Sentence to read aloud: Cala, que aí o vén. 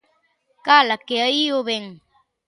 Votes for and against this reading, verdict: 2, 0, accepted